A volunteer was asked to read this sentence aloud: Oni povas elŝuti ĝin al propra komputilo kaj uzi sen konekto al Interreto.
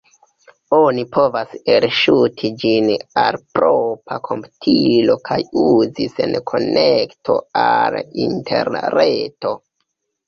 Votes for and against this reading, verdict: 2, 1, accepted